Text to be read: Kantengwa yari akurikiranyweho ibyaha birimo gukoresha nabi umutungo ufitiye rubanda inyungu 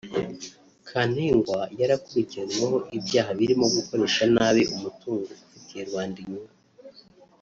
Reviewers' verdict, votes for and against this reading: rejected, 1, 2